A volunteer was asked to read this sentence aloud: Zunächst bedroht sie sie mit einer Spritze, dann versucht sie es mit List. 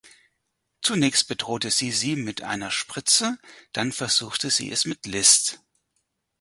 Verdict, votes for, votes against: rejected, 2, 4